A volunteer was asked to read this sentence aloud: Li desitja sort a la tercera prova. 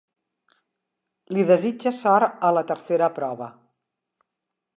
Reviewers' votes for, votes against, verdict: 2, 0, accepted